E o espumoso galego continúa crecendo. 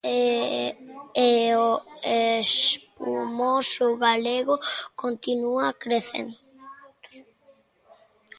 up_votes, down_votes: 0, 2